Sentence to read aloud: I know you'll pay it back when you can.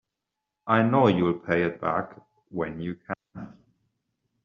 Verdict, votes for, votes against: rejected, 1, 2